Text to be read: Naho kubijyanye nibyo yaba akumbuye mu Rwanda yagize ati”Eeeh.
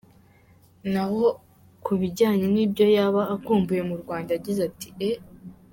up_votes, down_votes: 2, 0